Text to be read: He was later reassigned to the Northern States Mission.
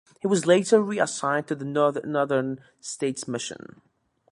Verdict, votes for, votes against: rejected, 0, 2